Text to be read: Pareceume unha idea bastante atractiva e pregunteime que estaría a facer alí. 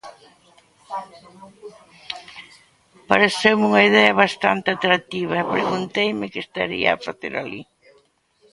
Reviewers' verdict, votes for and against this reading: accepted, 2, 0